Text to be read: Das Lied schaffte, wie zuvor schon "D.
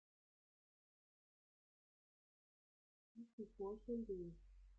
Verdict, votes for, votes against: rejected, 0, 2